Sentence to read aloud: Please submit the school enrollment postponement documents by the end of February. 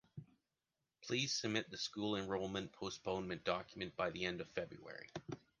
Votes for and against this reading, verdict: 1, 2, rejected